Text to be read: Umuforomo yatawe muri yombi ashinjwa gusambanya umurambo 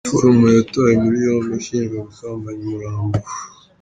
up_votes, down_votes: 0, 2